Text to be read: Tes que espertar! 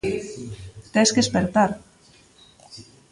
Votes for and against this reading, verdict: 1, 2, rejected